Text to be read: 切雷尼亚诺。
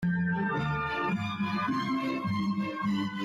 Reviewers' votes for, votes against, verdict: 0, 2, rejected